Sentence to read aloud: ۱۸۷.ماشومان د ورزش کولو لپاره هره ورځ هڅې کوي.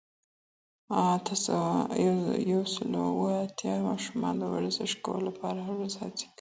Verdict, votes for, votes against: rejected, 0, 2